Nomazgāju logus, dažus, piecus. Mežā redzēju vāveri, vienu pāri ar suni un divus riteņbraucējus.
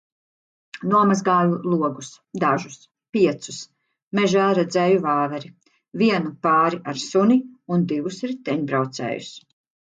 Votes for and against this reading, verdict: 2, 0, accepted